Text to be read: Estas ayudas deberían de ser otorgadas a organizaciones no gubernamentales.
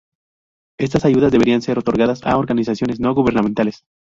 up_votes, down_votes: 2, 2